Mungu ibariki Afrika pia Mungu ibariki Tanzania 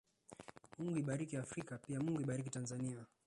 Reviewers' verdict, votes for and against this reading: rejected, 0, 2